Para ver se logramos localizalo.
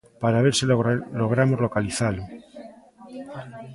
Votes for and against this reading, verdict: 1, 2, rejected